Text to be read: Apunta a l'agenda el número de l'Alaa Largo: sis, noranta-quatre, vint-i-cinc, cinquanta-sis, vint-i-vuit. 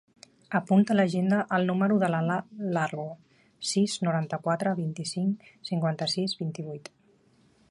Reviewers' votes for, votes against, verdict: 0, 2, rejected